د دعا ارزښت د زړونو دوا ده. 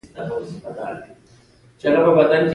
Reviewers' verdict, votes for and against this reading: accepted, 3, 2